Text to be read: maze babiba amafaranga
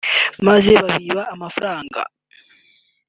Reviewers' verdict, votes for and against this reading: accepted, 2, 0